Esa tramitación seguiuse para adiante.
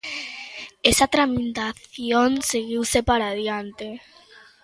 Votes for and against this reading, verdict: 0, 2, rejected